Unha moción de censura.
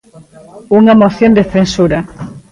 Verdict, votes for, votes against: rejected, 0, 2